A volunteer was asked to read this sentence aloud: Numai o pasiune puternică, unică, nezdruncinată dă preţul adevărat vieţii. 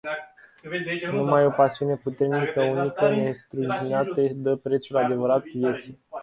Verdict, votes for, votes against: rejected, 0, 2